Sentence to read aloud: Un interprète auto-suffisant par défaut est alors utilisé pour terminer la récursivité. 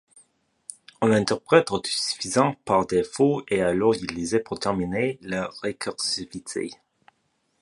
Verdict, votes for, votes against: accepted, 2, 0